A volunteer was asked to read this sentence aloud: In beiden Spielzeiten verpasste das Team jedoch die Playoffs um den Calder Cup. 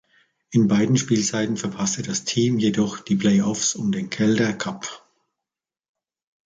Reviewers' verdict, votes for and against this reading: accepted, 2, 0